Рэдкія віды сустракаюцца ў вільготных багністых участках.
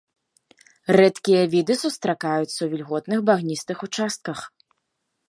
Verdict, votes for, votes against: accepted, 2, 0